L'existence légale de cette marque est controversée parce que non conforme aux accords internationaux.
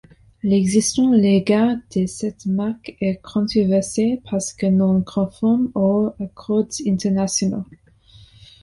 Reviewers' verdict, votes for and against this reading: rejected, 1, 2